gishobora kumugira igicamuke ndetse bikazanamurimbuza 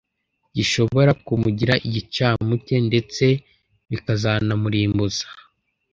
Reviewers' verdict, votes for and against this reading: accepted, 2, 0